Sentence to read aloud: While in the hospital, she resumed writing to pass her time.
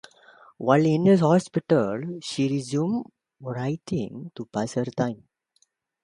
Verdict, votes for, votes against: accepted, 2, 0